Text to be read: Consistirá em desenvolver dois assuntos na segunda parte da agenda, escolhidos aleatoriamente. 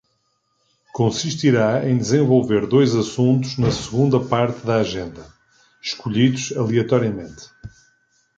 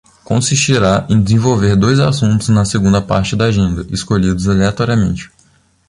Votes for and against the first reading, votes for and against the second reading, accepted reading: 2, 0, 1, 2, first